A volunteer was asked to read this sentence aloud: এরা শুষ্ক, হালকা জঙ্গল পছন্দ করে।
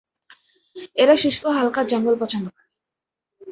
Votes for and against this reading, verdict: 1, 2, rejected